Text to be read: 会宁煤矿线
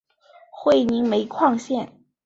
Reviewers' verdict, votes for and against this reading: accepted, 2, 0